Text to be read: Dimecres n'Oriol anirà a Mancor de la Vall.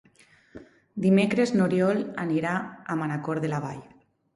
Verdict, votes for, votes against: rejected, 0, 4